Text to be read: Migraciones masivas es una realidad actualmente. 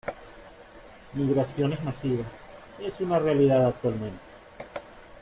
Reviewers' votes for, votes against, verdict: 1, 2, rejected